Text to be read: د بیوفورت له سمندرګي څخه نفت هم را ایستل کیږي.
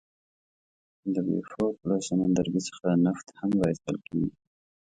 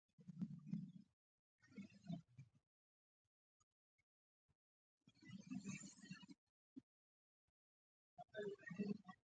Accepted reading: first